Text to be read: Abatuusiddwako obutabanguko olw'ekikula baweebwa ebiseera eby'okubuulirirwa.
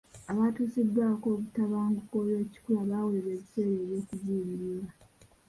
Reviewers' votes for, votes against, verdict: 2, 1, accepted